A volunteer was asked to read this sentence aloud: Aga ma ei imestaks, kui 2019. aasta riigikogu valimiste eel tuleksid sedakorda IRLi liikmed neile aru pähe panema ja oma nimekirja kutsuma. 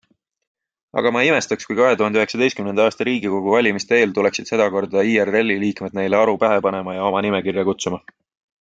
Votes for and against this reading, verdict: 0, 2, rejected